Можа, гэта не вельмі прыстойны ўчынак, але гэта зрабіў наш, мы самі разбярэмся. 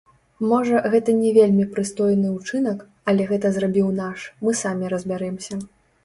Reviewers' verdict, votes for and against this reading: accepted, 2, 0